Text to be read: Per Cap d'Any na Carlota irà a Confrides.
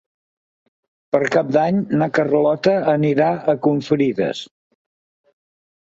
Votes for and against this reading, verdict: 1, 3, rejected